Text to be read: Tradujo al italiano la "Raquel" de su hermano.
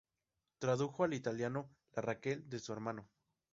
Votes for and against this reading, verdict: 2, 0, accepted